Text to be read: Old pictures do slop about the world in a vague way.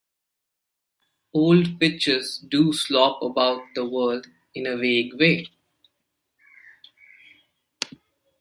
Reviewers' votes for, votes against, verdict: 1, 2, rejected